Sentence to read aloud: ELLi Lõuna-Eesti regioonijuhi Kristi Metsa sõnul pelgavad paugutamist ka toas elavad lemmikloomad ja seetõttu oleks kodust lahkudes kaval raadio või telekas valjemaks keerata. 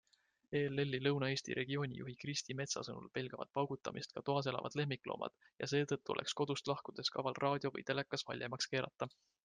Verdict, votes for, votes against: accepted, 2, 0